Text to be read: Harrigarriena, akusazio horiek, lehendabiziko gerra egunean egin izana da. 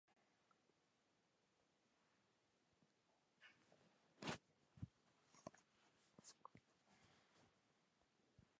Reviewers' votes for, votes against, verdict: 0, 2, rejected